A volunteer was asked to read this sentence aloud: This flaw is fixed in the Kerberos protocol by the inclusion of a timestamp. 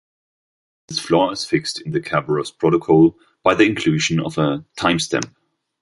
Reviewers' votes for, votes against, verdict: 2, 1, accepted